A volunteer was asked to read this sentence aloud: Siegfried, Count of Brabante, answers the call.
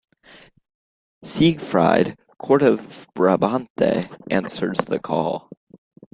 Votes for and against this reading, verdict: 0, 2, rejected